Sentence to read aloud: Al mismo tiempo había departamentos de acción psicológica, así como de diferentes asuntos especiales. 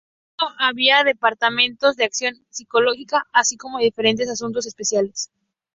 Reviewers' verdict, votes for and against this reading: rejected, 0, 4